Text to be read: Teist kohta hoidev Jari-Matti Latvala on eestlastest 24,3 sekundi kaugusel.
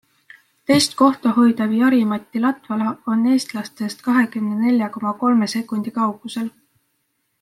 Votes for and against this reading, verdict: 0, 2, rejected